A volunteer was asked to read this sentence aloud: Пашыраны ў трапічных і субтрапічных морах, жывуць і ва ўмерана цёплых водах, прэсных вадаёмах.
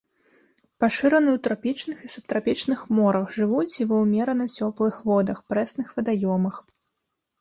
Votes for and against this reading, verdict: 2, 0, accepted